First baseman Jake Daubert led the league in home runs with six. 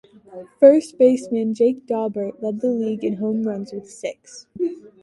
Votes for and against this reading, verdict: 1, 2, rejected